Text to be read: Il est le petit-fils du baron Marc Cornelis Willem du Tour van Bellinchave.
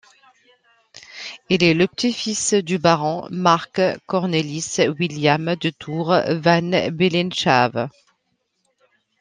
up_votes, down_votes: 0, 2